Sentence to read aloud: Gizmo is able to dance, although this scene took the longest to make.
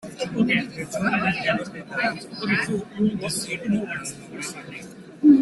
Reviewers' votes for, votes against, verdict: 0, 2, rejected